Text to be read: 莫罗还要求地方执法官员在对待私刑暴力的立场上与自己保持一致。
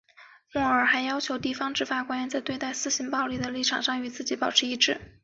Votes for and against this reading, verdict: 3, 0, accepted